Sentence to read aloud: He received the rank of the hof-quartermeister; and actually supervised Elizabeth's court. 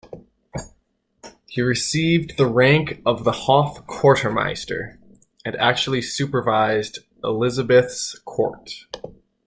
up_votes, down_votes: 2, 0